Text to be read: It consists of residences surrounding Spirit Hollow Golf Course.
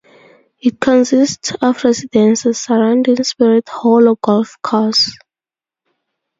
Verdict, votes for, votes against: accepted, 2, 0